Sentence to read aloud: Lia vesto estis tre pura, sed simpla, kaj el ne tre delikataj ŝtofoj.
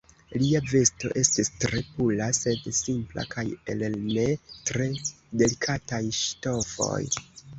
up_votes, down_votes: 2, 1